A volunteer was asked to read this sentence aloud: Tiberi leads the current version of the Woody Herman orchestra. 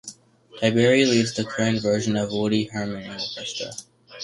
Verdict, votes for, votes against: rejected, 0, 2